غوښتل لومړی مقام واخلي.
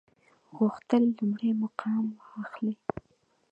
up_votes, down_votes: 0, 2